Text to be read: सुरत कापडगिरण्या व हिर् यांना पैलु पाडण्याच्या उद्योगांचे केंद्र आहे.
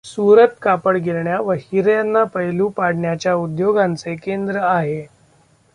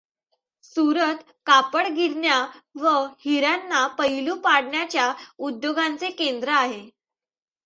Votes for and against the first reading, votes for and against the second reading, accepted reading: 0, 2, 2, 0, second